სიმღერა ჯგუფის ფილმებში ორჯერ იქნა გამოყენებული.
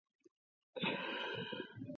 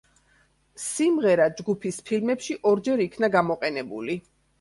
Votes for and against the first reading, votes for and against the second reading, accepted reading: 0, 2, 2, 0, second